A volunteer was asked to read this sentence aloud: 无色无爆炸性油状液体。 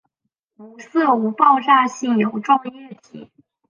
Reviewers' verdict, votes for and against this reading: rejected, 0, 4